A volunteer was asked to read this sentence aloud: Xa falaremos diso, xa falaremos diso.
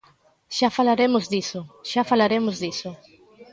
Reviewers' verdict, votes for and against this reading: accepted, 2, 0